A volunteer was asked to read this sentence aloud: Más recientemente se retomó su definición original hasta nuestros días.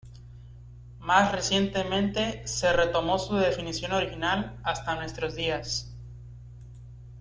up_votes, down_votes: 2, 0